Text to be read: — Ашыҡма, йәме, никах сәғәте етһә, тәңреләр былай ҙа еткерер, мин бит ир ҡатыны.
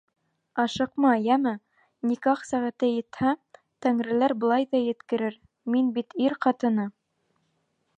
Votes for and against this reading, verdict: 2, 0, accepted